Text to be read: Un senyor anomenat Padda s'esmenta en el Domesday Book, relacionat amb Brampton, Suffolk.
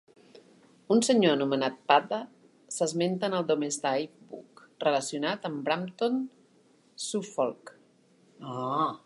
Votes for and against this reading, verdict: 0, 2, rejected